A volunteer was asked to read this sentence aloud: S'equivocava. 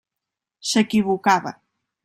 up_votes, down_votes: 3, 0